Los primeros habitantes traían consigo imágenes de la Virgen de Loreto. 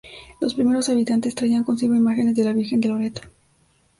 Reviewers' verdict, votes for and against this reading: accepted, 2, 0